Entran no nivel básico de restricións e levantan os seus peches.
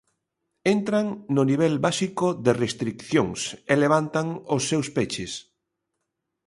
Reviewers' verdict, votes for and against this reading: rejected, 1, 2